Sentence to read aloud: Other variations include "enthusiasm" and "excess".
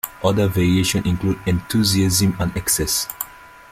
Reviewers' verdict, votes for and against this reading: rejected, 1, 2